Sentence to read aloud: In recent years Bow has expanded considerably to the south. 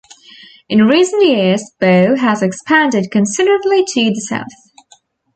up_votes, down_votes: 2, 1